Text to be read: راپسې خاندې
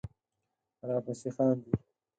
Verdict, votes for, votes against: rejected, 0, 4